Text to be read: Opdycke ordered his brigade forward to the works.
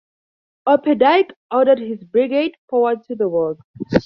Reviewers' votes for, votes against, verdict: 4, 0, accepted